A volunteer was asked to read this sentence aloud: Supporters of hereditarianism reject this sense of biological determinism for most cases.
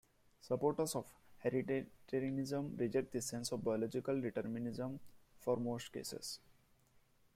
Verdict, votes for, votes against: rejected, 0, 2